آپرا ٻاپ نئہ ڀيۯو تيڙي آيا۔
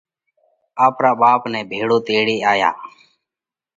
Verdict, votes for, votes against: accepted, 2, 0